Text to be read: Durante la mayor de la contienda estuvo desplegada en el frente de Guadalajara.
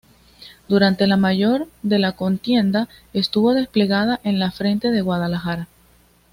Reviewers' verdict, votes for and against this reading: rejected, 0, 2